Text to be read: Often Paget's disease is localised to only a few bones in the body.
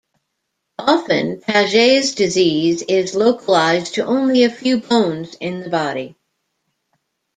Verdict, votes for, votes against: accepted, 2, 0